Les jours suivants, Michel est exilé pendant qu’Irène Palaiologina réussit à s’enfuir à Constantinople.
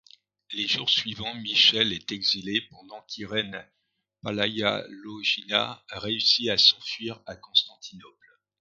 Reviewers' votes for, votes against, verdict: 1, 2, rejected